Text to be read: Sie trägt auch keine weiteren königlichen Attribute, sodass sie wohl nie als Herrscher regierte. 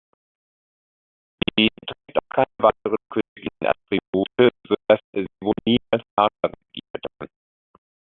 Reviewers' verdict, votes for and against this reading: rejected, 0, 2